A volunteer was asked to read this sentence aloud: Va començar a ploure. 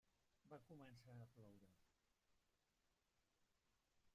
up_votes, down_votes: 0, 2